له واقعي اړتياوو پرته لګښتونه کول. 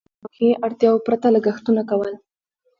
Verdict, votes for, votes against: rejected, 1, 2